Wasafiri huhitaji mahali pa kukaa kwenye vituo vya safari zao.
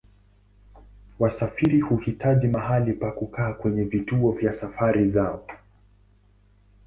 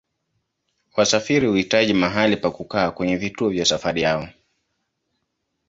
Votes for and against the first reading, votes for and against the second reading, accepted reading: 2, 0, 1, 2, first